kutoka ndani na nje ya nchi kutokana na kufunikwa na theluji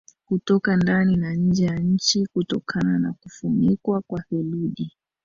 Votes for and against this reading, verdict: 1, 2, rejected